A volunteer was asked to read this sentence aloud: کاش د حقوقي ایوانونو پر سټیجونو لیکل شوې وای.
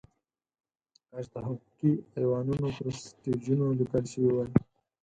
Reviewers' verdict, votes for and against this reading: rejected, 0, 4